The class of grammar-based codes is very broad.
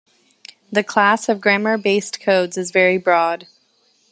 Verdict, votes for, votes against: accepted, 2, 0